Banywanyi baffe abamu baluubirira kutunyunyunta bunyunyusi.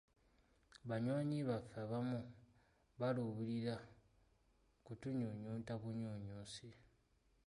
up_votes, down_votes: 2, 1